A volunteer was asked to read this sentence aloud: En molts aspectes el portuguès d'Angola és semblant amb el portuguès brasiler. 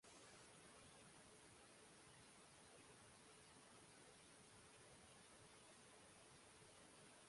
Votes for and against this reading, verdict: 0, 2, rejected